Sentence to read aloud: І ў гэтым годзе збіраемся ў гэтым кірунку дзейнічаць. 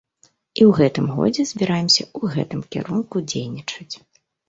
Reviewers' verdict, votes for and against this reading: accepted, 2, 1